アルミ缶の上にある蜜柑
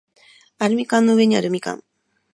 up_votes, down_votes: 2, 0